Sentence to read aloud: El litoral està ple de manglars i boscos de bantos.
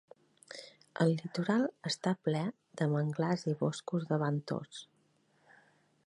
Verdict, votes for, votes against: accepted, 4, 2